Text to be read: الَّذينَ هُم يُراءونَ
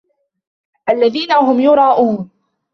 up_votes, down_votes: 2, 0